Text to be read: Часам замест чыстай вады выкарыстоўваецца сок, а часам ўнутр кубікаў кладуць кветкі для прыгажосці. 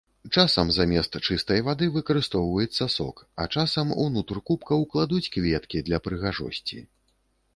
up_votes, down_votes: 1, 2